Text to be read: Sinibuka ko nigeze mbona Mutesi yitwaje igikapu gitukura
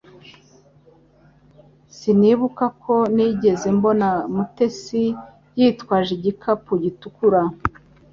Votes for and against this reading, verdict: 3, 0, accepted